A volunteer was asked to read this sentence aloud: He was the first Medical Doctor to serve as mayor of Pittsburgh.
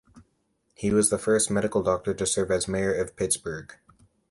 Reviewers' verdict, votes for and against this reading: accepted, 3, 0